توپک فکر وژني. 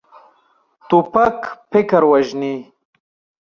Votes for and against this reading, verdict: 2, 1, accepted